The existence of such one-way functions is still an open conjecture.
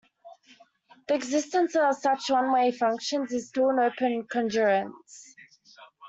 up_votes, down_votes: 0, 2